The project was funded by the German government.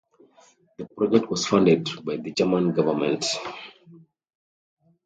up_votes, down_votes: 0, 2